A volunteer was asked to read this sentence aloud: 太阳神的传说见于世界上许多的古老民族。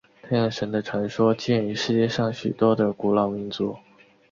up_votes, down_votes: 6, 0